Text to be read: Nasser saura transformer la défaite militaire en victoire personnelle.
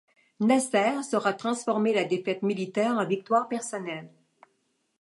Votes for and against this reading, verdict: 2, 0, accepted